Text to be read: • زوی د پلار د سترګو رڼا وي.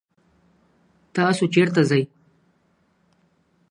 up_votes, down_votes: 0, 2